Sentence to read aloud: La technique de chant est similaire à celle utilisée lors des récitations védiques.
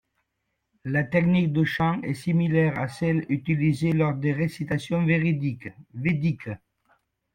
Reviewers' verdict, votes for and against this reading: rejected, 0, 2